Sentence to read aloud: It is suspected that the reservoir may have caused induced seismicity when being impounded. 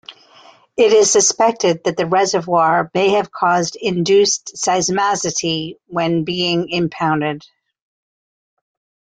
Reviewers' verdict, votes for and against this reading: rejected, 1, 2